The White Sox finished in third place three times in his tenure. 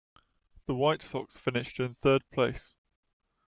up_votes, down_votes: 0, 2